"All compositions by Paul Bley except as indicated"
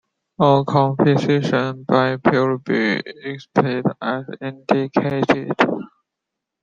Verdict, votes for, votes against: rejected, 1, 2